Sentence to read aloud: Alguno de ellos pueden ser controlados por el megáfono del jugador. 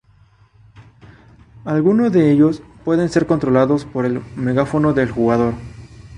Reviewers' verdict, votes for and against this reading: accepted, 2, 0